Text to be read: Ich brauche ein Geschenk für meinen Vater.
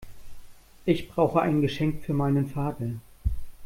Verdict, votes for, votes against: accepted, 2, 0